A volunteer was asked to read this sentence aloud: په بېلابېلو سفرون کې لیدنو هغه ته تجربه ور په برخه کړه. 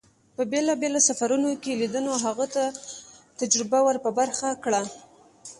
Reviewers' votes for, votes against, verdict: 2, 0, accepted